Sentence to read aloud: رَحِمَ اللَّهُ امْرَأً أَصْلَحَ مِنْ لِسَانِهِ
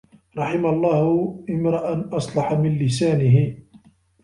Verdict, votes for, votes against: accepted, 2, 0